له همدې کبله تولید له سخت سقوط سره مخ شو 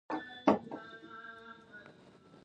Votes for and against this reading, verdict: 0, 2, rejected